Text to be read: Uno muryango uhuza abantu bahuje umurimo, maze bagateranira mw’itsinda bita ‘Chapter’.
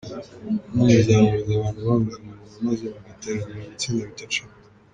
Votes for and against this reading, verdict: 0, 2, rejected